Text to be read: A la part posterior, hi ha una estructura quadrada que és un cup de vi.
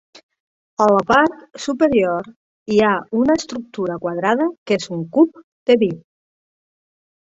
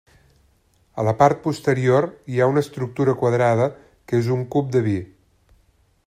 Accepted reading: second